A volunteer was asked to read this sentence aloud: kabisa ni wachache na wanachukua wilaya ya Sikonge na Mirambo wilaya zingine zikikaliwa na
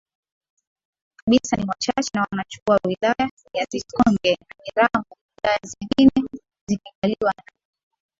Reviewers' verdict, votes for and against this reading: accepted, 5, 4